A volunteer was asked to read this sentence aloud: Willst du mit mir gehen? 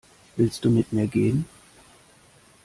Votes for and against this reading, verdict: 2, 0, accepted